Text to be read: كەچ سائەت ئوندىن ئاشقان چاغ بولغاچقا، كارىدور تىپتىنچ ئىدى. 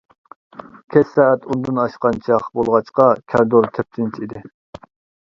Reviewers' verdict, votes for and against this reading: rejected, 1, 2